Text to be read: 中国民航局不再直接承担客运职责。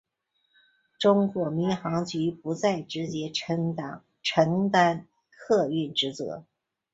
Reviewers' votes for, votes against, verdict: 2, 2, rejected